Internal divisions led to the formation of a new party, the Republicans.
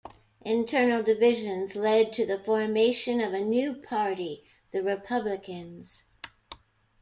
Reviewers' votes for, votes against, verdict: 2, 0, accepted